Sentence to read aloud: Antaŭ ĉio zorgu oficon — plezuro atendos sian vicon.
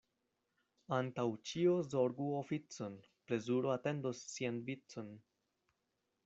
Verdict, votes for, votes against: rejected, 1, 2